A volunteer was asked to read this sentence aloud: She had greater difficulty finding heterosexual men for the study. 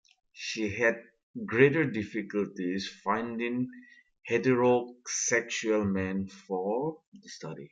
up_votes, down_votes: 1, 2